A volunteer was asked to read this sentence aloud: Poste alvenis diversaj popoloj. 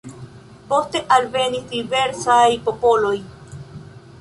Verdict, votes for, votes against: accepted, 2, 0